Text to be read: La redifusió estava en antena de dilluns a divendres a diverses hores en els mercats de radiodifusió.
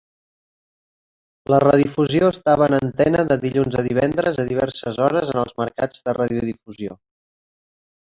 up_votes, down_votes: 1, 2